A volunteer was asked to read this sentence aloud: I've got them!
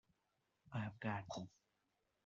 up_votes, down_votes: 2, 1